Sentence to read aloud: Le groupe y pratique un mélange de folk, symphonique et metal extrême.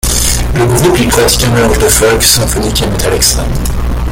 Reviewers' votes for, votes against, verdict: 1, 2, rejected